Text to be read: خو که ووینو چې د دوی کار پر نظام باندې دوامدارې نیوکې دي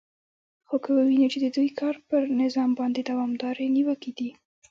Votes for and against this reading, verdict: 1, 2, rejected